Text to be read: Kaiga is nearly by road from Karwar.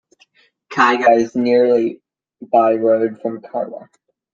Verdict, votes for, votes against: accepted, 2, 1